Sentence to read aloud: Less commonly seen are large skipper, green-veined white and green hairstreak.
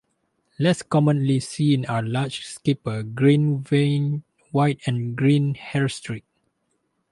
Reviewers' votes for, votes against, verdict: 2, 0, accepted